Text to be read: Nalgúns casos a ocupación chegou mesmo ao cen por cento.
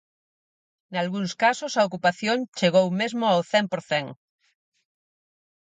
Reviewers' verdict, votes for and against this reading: rejected, 0, 4